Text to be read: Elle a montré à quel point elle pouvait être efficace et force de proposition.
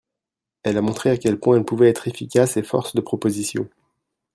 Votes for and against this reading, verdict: 2, 1, accepted